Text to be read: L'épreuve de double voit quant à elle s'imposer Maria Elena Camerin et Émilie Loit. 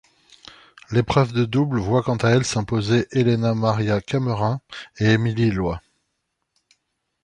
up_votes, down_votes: 0, 2